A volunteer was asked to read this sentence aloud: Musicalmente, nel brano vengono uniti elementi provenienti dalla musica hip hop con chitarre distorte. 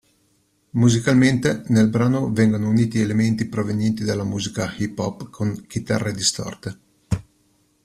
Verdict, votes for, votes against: accepted, 2, 0